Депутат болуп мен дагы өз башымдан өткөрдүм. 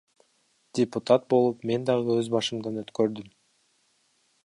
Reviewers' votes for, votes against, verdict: 2, 1, accepted